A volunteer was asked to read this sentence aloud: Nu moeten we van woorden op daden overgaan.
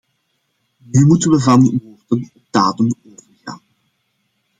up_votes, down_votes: 0, 2